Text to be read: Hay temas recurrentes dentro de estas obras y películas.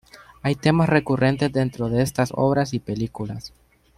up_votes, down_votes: 2, 0